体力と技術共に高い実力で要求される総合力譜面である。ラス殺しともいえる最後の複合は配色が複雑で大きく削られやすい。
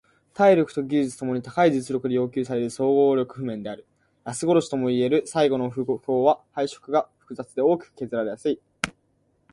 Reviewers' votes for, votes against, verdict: 4, 1, accepted